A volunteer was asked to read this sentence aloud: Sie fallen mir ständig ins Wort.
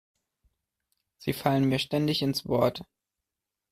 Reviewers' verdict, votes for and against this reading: accepted, 2, 0